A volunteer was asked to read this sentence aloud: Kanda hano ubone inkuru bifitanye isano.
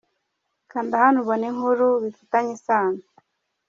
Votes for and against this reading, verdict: 2, 0, accepted